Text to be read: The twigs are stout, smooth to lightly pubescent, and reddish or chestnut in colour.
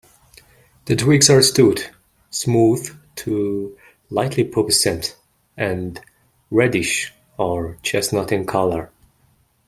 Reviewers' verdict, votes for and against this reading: rejected, 0, 2